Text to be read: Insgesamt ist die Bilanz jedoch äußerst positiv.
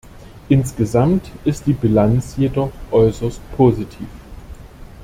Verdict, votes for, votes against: accepted, 2, 0